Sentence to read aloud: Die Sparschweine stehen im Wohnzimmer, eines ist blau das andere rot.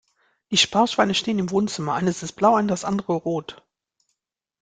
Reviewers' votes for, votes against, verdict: 1, 2, rejected